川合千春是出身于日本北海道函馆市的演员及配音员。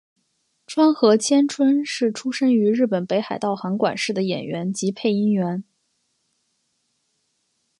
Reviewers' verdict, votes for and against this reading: accepted, 7, 0